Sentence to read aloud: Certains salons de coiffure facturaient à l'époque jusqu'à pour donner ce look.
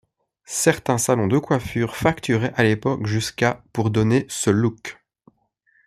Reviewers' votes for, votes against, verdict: 2, 0, accepted